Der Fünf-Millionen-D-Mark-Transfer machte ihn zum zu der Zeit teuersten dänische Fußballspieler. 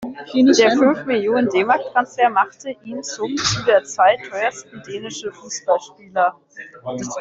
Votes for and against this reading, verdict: 1, 2, rejected